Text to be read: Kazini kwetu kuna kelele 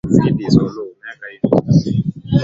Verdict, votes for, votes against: rejected, 0, 2